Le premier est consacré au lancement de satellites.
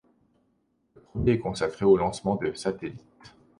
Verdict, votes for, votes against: accepted, 3, 2